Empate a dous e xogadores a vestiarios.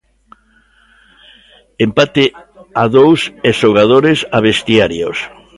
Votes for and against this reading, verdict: 2, 0, accepted